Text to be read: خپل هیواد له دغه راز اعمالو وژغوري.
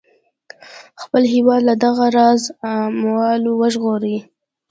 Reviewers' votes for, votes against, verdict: 2, 0, accepted